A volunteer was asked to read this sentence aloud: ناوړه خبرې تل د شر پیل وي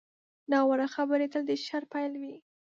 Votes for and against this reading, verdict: 2, 0, accepted